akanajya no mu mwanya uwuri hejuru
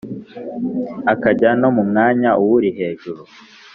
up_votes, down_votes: 1, 2